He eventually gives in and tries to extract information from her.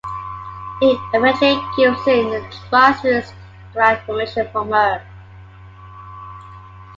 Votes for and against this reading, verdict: 2, 1, accepted